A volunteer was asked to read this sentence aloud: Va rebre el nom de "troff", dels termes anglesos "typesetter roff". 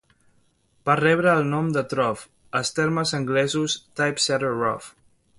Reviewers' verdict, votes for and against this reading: accepted, 2, 0